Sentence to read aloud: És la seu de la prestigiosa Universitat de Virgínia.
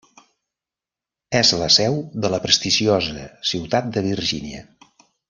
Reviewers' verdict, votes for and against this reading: rejected, 0, 2